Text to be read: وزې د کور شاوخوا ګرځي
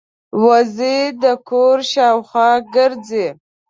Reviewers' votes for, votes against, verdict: 2, 0, accepted